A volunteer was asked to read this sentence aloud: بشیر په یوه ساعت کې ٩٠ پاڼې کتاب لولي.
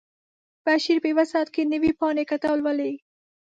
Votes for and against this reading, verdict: 0, 2, rejected